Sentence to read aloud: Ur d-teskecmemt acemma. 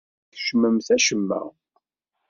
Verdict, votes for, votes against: rejected, 1, 2